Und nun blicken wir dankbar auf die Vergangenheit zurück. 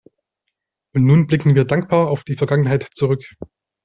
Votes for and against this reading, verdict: 2, 0, accepted